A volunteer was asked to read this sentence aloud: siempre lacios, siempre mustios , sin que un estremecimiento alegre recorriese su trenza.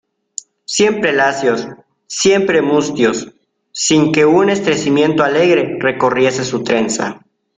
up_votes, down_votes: 0, 2